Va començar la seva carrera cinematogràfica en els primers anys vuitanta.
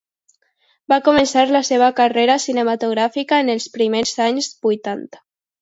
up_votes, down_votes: 2, 0